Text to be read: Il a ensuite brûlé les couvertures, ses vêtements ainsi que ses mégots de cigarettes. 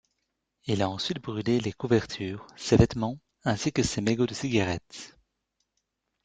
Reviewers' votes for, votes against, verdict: 2, 0, accepted